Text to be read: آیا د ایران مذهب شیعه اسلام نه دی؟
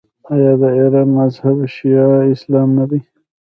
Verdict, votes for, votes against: rejected, 1, 2